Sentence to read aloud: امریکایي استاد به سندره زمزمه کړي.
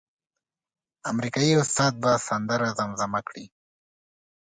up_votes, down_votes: 2, 0